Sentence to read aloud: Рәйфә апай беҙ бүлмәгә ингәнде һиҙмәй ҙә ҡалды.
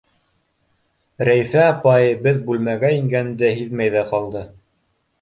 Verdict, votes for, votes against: accepted, 2, 0